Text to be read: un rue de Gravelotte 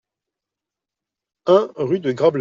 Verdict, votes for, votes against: rejected, 0, 2